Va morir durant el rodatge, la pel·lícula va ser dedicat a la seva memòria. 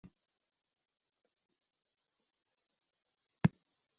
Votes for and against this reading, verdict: 0, 2, rejected